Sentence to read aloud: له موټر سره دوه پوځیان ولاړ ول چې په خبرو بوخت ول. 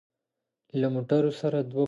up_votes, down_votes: 1, 2